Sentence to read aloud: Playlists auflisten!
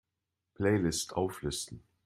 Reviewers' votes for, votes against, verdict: 1, 2, rejected